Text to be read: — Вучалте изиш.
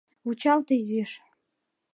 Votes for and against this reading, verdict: 2, 0, accepted